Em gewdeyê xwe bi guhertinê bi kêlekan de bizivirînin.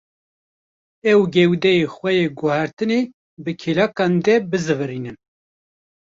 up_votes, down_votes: 0, 2